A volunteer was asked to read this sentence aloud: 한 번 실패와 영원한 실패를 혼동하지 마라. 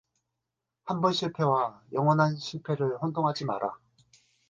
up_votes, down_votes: 2, 2